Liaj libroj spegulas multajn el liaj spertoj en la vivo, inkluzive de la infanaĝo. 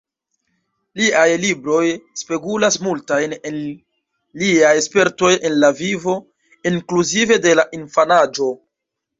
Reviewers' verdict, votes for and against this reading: rejected, 0, 2